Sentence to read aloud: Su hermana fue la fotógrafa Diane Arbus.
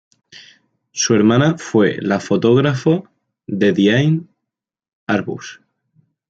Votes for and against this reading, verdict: 1, 2, rejected